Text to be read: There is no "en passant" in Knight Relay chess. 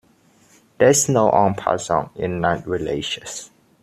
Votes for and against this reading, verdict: 1, 2, rejected